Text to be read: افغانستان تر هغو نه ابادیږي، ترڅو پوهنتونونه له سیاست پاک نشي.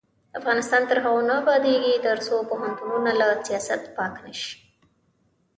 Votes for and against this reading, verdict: 1, 2, rejected